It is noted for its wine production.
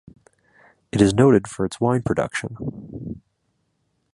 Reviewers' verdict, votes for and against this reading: accepted, 2, 1